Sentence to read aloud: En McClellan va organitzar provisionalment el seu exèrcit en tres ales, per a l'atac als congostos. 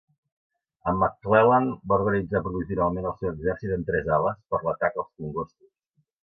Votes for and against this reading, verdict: 1, 2, rejected